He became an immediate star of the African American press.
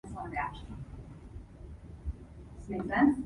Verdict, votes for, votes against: rejected, 0, 2